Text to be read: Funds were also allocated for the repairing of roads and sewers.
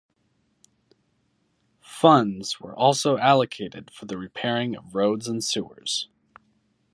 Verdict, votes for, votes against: accepted, 2, 0